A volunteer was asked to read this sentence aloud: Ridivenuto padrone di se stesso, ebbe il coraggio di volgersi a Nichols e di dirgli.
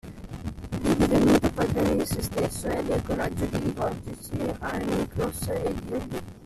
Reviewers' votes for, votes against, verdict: 1, 2, rejected